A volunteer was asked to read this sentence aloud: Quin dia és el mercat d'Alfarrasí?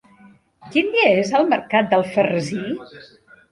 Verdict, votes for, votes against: accepted, 2, 0